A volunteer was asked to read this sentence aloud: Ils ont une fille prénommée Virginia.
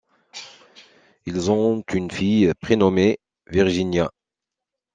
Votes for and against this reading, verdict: 3, 2, accepted